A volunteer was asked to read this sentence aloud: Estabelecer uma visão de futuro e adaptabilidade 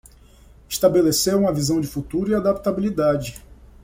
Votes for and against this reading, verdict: 2, 0, accepted